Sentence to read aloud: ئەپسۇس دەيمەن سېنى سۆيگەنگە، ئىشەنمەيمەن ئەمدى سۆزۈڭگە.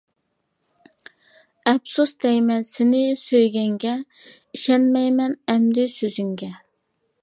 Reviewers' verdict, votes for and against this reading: accepted, 2, 0